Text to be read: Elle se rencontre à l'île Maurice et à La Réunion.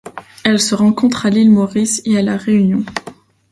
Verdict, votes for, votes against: accepted, 2, 0